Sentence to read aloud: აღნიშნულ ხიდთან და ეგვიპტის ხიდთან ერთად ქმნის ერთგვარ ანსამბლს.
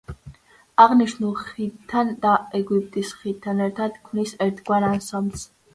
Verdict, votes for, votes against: accepted, 2, 0